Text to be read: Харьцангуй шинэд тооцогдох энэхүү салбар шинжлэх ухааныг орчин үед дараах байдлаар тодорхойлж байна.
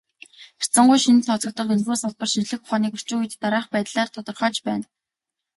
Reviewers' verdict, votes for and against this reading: rejected, 1, 2